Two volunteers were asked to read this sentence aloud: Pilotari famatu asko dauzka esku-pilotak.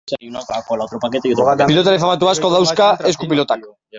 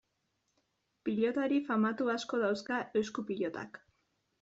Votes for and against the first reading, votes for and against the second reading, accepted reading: 0, 2, 2, 0, second